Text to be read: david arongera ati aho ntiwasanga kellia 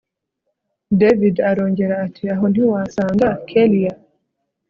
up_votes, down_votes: 2, 0